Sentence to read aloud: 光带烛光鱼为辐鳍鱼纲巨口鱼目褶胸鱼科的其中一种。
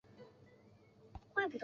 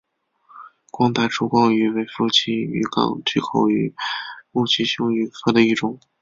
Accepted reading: second